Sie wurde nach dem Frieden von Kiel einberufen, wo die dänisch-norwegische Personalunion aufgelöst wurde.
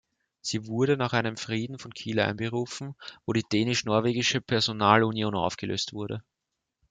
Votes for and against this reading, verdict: 0, 2, rejected